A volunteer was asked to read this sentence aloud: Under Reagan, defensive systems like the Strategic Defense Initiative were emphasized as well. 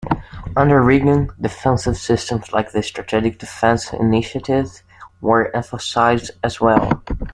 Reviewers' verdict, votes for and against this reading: accepted, 2, 0